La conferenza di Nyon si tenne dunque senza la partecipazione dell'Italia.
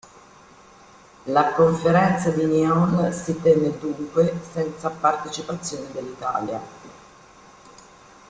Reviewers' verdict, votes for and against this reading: rejected, 0, 2